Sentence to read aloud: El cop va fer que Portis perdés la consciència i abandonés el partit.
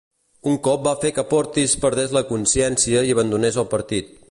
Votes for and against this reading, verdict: 0, 2, rejected